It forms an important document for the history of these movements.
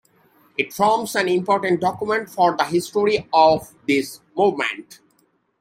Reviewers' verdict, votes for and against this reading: accepted, 2, 1